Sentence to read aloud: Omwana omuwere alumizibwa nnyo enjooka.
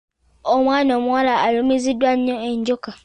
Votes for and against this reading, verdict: 0, 2, rejected